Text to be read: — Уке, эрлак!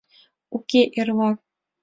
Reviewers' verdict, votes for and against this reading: accepted, 2, 0